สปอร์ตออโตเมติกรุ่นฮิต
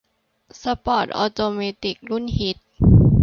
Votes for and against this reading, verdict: 2, 0, accepted